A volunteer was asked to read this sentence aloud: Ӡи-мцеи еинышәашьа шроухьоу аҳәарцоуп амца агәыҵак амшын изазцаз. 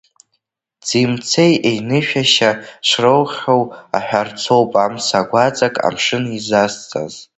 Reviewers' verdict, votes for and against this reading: rejected, 1, 2